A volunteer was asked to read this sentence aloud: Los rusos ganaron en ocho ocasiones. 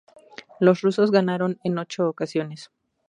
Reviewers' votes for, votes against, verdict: 4, 0, accepted